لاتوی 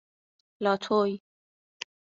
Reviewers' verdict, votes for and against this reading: accepted, 2, 0